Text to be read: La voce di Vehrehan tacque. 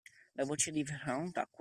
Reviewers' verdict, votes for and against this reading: rejected, 0, 2